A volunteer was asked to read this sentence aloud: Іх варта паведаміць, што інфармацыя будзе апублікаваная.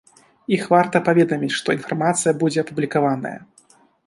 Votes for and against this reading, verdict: 2, 0, accepted